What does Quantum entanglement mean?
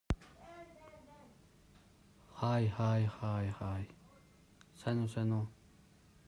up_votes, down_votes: 0, 2